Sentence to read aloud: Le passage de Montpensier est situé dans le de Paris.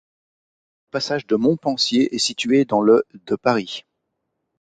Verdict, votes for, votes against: rejected, 1, 2